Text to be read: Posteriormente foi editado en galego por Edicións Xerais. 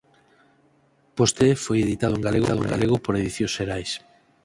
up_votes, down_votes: 0, 4